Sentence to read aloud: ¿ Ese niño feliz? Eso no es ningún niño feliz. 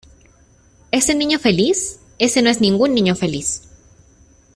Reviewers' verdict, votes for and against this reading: accepted, 2, 0